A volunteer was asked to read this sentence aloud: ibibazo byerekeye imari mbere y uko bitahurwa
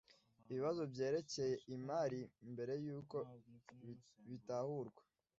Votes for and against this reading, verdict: 2, 0, accepted